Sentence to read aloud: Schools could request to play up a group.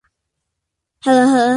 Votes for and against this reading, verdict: 0, 2, rejected